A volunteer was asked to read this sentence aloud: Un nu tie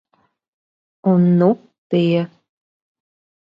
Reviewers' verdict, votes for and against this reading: rejected, 1, 2